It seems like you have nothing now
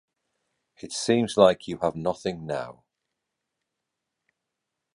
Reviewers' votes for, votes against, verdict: 2, 0, accepted